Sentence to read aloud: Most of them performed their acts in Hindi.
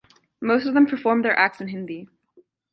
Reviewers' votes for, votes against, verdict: 2, 0, accepted